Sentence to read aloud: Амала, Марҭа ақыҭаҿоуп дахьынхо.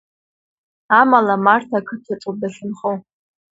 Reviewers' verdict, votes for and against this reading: accepted, 2, 1